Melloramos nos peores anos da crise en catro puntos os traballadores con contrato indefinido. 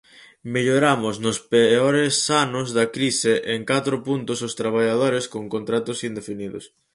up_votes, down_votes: 0, 4